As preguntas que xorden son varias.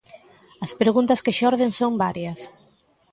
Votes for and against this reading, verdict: 2, 0, accepted